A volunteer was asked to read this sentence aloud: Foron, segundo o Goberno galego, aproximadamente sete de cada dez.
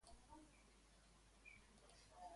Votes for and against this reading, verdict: 0, 2, rejected